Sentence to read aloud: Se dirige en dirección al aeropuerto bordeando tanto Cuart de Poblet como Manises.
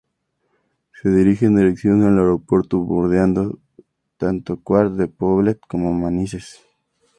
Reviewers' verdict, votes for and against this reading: rejected, 0, 4